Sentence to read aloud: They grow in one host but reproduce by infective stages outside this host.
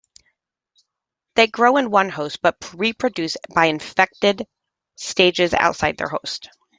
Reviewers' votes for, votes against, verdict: 0, 2, rejected